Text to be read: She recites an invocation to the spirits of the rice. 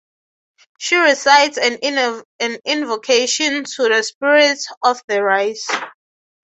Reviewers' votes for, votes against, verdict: 3, 0, accepted